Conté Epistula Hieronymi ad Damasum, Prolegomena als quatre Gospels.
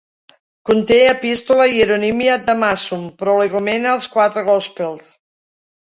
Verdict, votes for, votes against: accepted, 2, 0